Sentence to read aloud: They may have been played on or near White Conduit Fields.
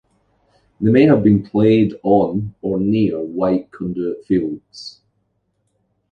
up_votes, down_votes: 2, 0